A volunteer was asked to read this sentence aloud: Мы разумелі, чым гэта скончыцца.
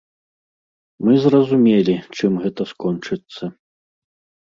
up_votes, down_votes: 0, 2